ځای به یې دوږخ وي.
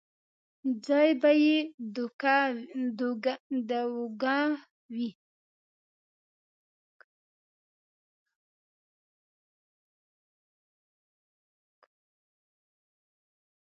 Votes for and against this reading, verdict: 0, 2, rejected